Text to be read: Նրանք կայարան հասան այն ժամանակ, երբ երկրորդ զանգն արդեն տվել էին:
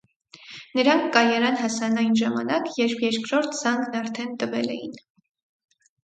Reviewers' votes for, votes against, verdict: 4, 0, accepted